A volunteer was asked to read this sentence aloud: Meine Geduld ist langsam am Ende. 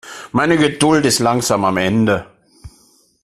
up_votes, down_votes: 2, 0